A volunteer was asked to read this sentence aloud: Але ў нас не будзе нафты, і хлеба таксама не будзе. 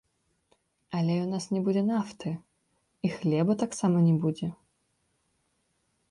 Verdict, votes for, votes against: rejected, 1, 2